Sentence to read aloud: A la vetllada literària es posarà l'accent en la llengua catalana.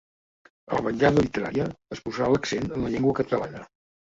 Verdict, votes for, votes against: accepted, 2, 0